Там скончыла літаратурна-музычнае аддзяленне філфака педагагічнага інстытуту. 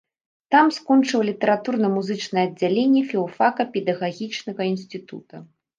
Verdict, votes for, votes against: rejected, 0, 2